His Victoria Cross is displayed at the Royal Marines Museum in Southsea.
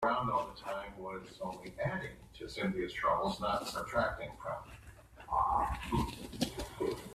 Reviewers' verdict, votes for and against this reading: rejected, 0, 2